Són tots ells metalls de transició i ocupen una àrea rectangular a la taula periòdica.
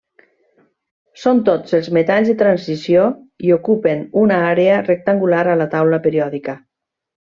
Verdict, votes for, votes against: rejected, 1, 2